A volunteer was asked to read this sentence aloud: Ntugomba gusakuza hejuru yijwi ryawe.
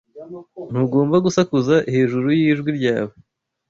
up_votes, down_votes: 2, 0